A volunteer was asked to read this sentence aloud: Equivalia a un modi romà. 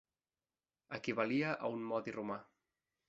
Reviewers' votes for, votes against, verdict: 4, 0, accepted